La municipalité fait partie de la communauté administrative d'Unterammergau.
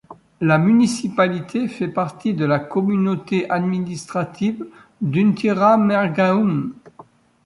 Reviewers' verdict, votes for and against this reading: rejected, 0, 2